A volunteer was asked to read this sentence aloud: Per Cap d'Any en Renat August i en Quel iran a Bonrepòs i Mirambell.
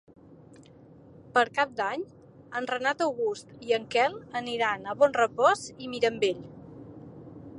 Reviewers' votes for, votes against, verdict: 2, 3, rejected